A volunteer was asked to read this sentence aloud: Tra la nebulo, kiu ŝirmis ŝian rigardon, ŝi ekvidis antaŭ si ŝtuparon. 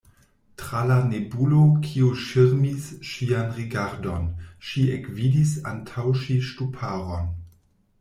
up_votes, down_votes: 1, 2